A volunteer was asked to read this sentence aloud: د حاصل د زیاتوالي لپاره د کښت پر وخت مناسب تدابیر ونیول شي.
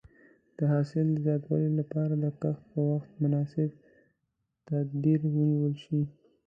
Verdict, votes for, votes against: rejected, 1, 2